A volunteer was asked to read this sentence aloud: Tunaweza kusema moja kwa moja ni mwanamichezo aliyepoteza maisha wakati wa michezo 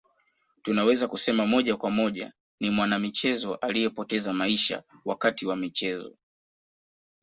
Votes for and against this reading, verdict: 1, 2, rejected